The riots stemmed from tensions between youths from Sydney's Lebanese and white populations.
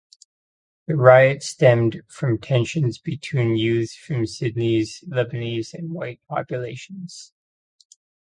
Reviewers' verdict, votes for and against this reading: accepted, 2, 0